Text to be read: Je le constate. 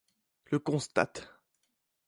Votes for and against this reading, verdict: 1, 2, rejected